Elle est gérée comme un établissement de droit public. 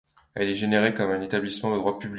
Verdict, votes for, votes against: rejected, 0, 2